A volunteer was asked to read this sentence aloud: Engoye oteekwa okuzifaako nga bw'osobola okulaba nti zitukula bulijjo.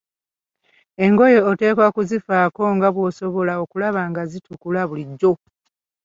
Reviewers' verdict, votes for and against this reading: rejected, 0, 2